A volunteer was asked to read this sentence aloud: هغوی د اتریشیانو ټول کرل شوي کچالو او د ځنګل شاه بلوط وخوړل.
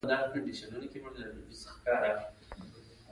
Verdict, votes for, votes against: rejected, 1, 2